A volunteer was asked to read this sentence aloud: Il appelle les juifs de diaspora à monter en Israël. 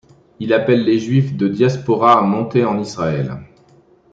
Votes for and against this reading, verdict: 0, 2, rejected